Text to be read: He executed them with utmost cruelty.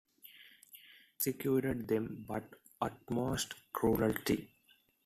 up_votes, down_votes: 0, 2